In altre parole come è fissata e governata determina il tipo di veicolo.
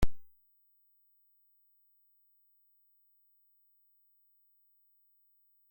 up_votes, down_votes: 0, 2